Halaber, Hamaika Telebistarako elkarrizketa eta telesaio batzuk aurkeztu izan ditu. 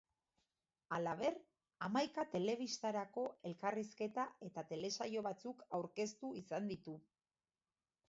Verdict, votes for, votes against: accepted, 2, 0